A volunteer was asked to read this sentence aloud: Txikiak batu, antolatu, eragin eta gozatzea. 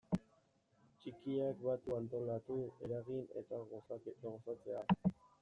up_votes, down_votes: 0, 2